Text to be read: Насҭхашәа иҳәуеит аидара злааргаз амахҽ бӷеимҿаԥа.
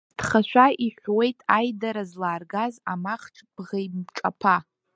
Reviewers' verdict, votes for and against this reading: rejected, 1, 2